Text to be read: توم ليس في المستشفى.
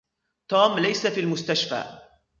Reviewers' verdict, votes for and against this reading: accepted, 2, 0